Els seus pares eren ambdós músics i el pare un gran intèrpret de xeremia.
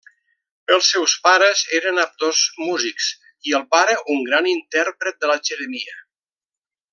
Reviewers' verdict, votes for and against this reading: rejected, 0, 2